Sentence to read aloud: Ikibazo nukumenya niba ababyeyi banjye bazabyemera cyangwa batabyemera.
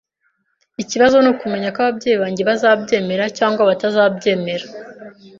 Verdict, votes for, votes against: rejected, 0, 2